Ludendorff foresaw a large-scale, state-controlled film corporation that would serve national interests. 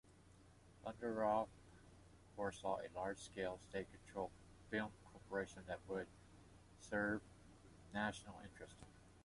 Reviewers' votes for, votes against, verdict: 1, 2, rejected